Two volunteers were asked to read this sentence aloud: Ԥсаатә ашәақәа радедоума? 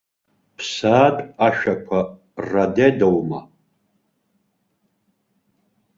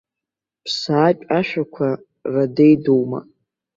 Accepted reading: second